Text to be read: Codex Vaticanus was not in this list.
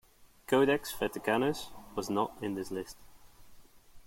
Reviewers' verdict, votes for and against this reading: accepted, 2, 0